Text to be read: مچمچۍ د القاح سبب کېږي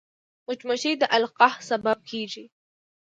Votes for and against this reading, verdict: 2, 0, accepted